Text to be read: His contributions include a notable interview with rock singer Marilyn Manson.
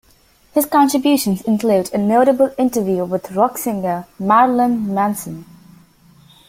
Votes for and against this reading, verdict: 2, 0, accepted